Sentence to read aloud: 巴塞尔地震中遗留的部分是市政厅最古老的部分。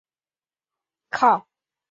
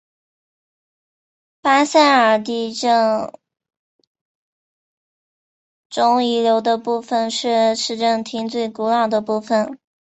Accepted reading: second